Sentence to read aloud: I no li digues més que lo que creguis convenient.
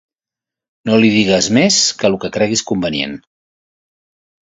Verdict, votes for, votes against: rejected, 1, 2